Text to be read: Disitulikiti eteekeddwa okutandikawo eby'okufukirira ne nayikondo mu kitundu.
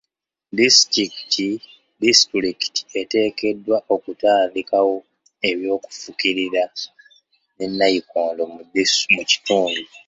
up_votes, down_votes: 0, 2